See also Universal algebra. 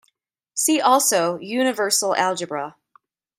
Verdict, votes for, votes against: accepted, 2, 0